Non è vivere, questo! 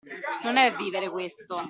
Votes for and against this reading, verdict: 2, 1, accepted